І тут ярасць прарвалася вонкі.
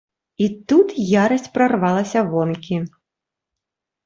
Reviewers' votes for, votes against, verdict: 2, 0, accepted